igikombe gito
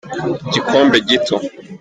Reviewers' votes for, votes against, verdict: 1, 2, rejected